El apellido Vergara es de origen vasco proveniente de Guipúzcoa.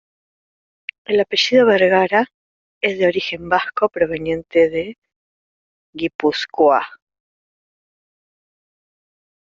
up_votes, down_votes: 1, 2